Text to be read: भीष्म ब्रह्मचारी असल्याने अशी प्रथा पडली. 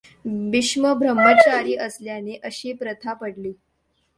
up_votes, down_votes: 2, 0